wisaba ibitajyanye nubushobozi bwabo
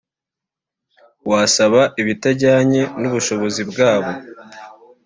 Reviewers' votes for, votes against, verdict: 1, 2, rejected